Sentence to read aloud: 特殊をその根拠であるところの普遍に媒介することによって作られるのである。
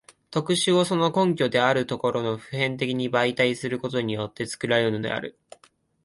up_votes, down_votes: 1, 2